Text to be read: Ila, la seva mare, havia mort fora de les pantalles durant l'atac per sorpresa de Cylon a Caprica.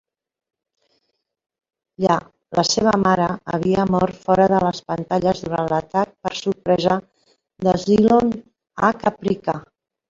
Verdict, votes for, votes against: rejected, 0, 2